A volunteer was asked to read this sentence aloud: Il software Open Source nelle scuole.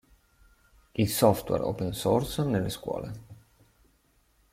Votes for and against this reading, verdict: 2, 0, accepted